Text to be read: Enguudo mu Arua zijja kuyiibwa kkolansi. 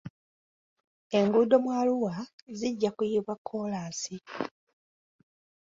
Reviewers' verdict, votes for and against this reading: accepted, 2, 0